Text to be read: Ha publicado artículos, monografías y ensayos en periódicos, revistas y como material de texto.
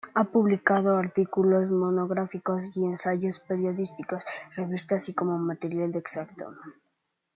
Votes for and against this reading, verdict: 1, 2, rejected